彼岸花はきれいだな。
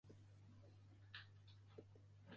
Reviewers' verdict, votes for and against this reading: rejected, 0, 2